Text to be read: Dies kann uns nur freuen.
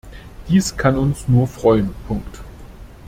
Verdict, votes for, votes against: rejected, 1, 2